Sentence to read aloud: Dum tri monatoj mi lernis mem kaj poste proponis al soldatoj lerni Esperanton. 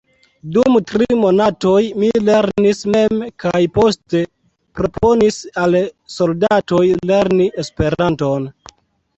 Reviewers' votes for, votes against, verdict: 1, 2, rejected